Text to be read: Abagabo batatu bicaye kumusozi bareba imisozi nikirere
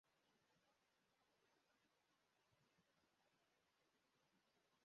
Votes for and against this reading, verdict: 0, 2, rejected